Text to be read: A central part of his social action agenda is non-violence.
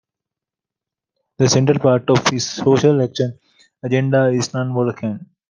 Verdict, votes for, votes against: rejected, 0, 2